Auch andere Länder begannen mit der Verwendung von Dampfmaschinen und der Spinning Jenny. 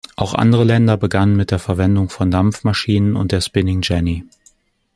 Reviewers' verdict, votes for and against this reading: accepted, 2, 0